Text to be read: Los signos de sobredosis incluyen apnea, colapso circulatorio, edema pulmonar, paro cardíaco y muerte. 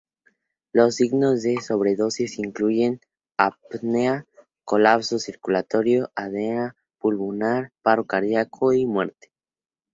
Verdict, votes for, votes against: rejected, 2, 2